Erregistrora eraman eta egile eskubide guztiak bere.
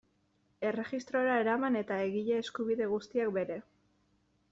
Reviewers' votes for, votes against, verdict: 2, 0, accepted